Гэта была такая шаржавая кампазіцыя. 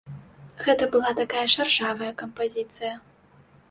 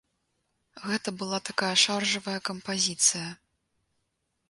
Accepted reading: second